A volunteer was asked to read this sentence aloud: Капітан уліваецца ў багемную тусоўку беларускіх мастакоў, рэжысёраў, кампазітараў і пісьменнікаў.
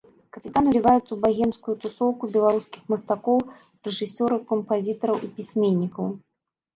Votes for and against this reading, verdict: 1, 2, rejected